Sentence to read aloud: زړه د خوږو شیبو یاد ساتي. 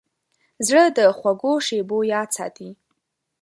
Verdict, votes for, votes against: accepted, 3, 0